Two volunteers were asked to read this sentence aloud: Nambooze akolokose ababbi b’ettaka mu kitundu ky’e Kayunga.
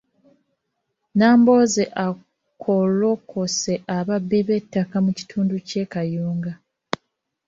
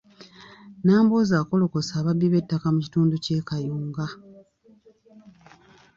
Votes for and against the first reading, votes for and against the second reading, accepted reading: 0, 3, 2, 0, second